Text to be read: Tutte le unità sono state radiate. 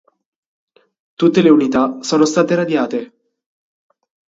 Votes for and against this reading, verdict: 3, 0, accepted